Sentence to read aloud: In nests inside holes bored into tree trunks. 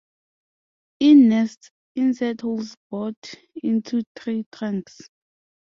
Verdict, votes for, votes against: rejected, 0, 2